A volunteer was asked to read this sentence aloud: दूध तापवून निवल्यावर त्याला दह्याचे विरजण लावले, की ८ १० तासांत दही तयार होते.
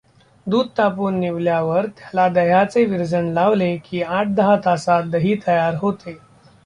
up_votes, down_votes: 0, 2